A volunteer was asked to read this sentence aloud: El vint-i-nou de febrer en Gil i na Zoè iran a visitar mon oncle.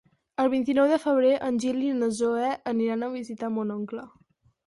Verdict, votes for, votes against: rejected, 2, 4